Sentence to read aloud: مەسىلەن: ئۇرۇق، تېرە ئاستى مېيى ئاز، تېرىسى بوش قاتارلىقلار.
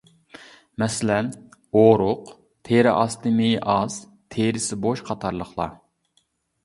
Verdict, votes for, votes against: accepted, 2, 1